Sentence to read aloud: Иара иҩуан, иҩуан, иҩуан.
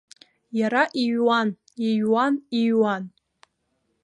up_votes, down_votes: 2, 0